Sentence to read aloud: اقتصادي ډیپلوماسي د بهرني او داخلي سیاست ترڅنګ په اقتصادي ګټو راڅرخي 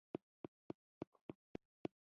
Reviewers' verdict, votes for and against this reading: rejected, 0, 2